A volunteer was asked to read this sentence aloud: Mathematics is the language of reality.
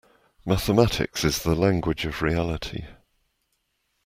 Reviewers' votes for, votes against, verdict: 2, 0, accepted